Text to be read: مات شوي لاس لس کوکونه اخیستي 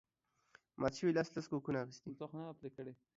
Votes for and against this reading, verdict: 1, 2, rejected